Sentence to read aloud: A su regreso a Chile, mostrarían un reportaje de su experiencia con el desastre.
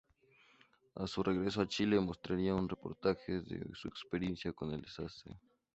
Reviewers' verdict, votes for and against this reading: accepted, 2, 0